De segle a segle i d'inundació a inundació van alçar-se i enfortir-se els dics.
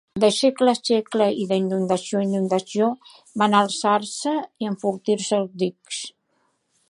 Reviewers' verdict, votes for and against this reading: rejected, 1, 2